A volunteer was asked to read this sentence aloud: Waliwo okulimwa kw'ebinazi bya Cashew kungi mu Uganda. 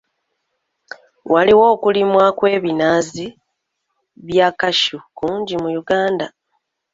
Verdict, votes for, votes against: accepted, 2, 0